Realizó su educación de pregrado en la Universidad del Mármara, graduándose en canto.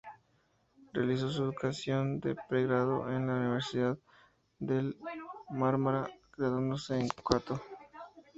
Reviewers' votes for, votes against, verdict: 2, 0, accepted